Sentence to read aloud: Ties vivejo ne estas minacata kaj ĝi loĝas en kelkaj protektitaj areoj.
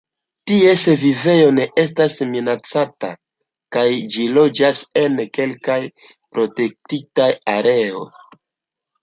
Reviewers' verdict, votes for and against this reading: rejected, 1, 2